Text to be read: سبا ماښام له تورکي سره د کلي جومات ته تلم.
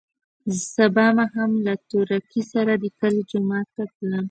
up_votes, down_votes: 1, 2